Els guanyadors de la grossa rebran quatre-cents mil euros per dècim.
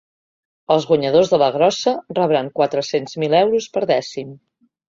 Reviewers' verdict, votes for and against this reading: accepted, 2, 0